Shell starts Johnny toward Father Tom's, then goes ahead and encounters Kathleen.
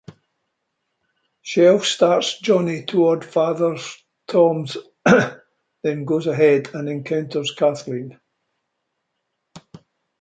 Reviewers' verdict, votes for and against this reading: accepted, 2, 1